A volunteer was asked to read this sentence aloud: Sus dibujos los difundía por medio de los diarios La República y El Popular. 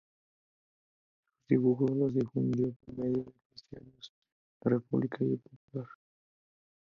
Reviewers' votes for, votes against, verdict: 0, 2, rejected